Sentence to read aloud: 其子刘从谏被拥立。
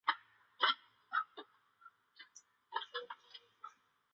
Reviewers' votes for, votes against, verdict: 1, 2, rejected